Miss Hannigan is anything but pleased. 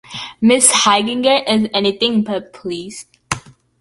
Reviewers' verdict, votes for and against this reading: rejected, 0, 2